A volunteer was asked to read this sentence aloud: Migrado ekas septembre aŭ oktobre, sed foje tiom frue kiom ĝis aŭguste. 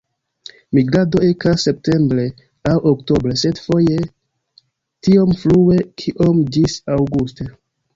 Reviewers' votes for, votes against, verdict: 0, 2, rejected